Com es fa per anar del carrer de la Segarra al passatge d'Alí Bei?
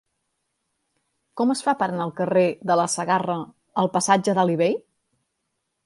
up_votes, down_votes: 2, 1